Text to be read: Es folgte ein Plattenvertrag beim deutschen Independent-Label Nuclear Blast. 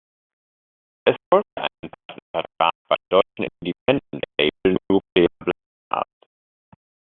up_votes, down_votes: 1, 2